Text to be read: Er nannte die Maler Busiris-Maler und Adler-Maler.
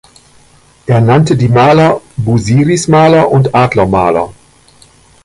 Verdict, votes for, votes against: rejected, 1, 2